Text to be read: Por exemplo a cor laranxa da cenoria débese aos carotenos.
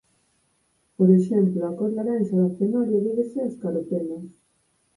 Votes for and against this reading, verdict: 4, 2, accepted